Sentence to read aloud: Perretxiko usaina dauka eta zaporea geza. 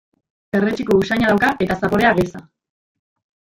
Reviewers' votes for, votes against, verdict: 1, 2, rejected